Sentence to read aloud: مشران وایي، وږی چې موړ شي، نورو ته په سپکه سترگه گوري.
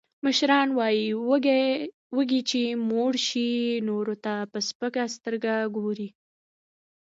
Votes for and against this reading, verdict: 0, 2, rejected